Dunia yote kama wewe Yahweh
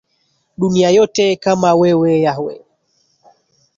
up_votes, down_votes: 3, 2